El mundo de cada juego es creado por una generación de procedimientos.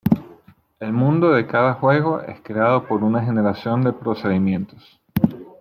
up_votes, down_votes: 2, 0